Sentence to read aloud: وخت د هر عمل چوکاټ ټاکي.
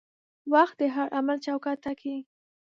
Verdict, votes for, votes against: accepted, 5, 0